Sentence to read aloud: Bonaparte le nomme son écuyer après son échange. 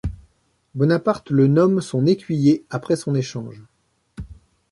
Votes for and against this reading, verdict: 2, 0, accepted